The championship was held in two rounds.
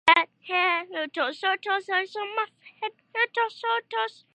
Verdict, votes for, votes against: rejected, 0, 2